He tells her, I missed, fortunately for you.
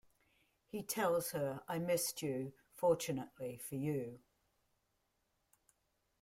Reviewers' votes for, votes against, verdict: 1, 2, rejected